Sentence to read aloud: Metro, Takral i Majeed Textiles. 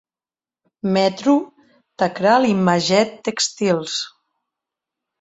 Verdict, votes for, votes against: rejected, 0, 2